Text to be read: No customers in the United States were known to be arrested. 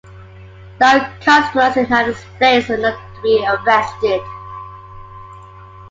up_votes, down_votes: 0, 2